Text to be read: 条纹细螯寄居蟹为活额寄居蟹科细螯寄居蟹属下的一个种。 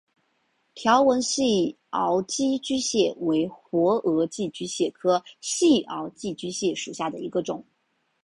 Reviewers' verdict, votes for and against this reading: accepted, 3, 0